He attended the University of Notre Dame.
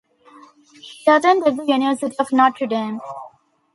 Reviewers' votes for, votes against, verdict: 2, 3, rejected